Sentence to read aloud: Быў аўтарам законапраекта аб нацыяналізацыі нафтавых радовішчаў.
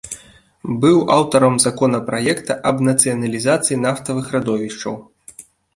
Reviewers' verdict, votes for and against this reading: accepted, 2, 0